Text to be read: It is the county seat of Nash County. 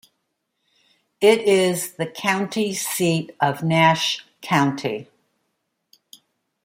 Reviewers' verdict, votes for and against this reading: accepted, 2, 0